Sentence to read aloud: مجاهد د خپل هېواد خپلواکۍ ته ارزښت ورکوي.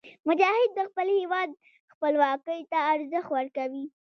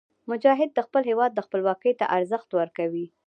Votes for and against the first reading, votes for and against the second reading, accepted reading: 2, 0, 1, 2, first